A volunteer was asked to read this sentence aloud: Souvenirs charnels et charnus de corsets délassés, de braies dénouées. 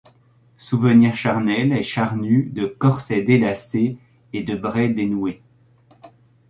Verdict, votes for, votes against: rejected, 1, 2